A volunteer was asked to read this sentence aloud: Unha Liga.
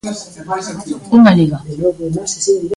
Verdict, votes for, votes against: rejected, 0, 2